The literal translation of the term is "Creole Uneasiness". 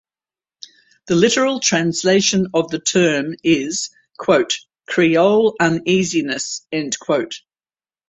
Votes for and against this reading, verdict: 4, 4, rejected